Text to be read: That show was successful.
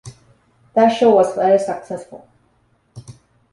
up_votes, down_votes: 2, 0